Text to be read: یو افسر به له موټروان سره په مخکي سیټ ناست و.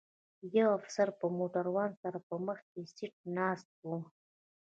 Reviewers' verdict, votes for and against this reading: accepted, 2, 0